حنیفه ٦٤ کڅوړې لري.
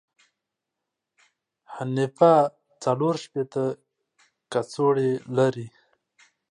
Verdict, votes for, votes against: rejected, 0, 2